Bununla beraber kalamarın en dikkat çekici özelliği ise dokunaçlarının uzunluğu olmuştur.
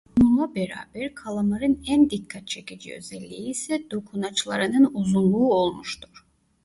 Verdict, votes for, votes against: rejected, 1, 2